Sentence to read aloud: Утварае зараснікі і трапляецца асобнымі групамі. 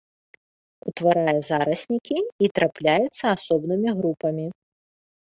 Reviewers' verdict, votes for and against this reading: accepted, 2, 1